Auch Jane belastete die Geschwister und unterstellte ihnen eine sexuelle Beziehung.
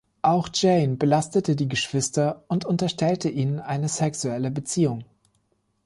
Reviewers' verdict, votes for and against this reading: accepted, 2, 0